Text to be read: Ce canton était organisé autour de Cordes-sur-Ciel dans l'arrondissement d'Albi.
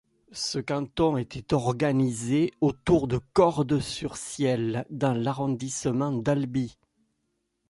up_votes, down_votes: 1, 2